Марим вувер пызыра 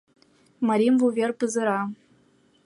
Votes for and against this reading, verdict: 2, 0, accepted